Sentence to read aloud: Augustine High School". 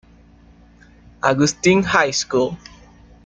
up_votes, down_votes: 2, 0